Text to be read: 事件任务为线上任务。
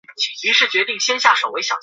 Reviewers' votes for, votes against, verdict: 0, 5, rejected